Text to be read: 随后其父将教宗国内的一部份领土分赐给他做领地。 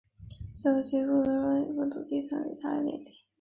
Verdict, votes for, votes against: rejected, 0, 4